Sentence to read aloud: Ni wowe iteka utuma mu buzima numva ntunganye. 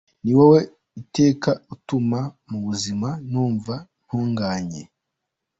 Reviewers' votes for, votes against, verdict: 2, 0, accepted